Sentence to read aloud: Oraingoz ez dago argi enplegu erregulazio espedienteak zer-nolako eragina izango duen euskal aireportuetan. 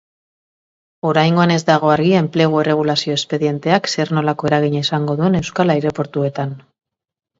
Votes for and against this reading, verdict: 1, 2, rejected